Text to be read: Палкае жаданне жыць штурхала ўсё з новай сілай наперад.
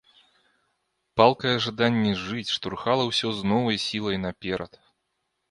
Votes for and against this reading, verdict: 2, 0, accepted